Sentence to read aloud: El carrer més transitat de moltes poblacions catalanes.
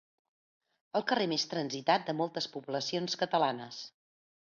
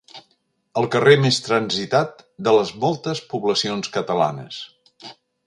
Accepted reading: first